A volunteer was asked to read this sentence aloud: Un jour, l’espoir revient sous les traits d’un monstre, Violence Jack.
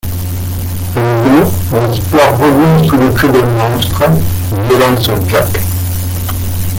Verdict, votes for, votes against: rejected, 0, 2